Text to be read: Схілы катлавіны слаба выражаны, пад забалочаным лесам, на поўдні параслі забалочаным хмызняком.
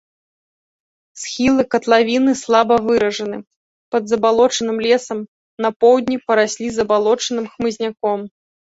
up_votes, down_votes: 2, 0